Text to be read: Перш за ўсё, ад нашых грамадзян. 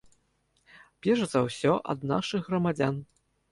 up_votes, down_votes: 2, 0